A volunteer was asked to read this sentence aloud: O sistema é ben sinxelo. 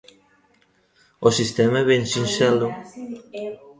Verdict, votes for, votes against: rejected, 0, 2